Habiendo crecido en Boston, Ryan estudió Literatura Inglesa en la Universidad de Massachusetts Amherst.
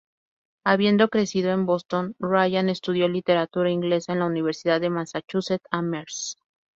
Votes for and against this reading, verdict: 4, 0, accepted